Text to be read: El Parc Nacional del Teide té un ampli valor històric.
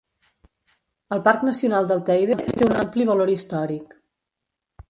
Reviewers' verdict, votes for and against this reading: rejected, 0, 2